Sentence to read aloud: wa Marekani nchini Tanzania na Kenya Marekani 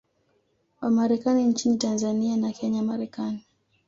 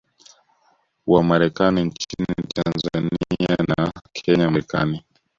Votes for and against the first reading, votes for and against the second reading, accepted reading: 2, 0, 1, 2, first